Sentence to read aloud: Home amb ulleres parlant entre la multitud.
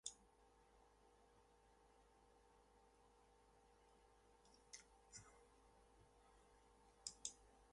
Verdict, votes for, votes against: rejected, 0, 2